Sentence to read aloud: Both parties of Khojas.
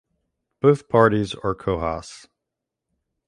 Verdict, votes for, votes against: rejected, 1, 2